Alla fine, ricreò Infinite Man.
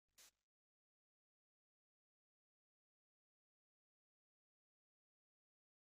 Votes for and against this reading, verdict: 0, 2, rejected